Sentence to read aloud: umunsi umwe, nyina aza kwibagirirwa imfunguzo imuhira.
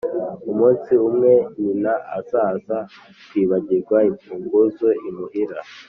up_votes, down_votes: 1, 2